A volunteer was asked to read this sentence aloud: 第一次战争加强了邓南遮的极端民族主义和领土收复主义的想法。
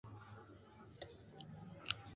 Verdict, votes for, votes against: rejected, 2, 6